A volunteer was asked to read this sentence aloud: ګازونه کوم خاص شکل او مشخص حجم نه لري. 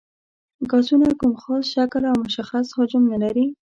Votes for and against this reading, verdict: 2, 0, accepted